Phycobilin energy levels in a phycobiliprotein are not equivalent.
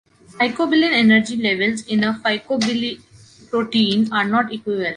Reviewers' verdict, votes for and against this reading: accepted, 2, 0